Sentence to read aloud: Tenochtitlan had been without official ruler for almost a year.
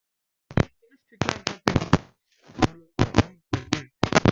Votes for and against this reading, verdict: 0, 2, rejected